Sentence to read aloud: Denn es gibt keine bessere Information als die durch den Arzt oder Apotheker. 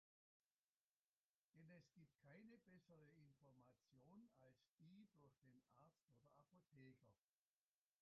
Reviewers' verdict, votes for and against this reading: rejected, 1, 2